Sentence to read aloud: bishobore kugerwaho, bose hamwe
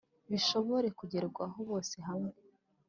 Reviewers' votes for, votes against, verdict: 3, 0, accepted